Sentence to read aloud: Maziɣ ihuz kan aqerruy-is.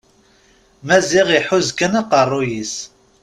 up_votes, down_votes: 0, 2